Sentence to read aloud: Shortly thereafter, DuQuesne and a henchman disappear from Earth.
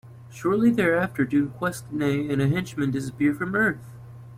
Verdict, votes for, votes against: rejected, 1, 2